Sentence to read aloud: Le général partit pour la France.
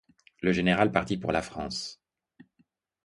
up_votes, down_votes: 2, 0